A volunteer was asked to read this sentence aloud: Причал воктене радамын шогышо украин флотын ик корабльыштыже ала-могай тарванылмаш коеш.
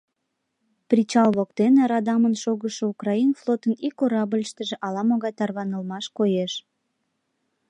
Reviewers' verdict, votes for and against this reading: accepted, 3, 0